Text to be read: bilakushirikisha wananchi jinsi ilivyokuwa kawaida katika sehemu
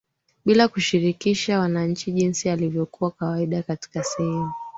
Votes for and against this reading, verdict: 3, 4, rejected